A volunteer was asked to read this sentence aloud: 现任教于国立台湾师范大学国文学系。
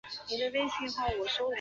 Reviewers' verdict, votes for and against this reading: rejected, 1, 3